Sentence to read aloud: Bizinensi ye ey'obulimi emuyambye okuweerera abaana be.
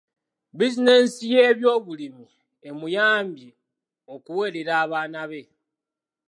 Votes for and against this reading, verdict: 2, 0, accepted